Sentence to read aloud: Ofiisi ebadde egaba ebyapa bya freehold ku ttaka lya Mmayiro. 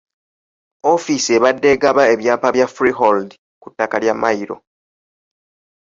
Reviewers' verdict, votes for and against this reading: accepted, 2, 0